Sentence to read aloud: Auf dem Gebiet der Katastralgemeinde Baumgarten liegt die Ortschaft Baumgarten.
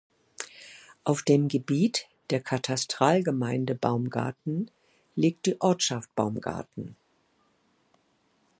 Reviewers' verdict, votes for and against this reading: accepted, 2, 0